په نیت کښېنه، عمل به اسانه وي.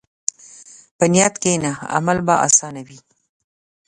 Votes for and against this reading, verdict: 2, 0, accepted